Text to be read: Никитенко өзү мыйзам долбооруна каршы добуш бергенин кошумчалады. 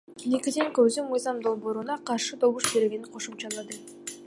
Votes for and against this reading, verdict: 0, 2, rejected